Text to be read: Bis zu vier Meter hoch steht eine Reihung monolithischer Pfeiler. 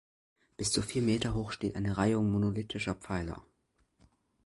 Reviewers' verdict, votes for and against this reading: accepted, 2, 0